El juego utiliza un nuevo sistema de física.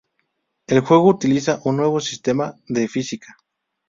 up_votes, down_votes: 0, 2